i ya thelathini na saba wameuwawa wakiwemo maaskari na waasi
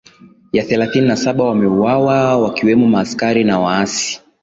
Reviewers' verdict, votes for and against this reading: accepted, 6, 5